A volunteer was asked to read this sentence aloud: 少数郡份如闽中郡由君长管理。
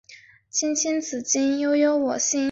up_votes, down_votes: 0, 2